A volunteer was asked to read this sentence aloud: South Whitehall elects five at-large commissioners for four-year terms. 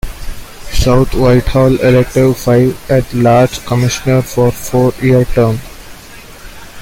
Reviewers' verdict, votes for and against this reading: rejected, 0, 2